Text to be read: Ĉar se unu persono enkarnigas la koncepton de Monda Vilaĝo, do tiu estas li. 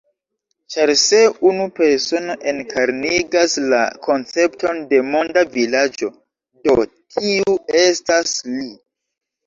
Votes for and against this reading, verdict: 0, 2, rejected